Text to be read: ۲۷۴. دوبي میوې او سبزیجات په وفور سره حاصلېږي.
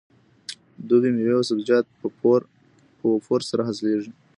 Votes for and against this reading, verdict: 0, 2, rejected